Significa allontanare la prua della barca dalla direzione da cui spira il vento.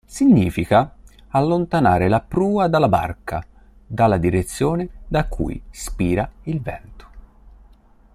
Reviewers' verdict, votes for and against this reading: rejected, 0, 2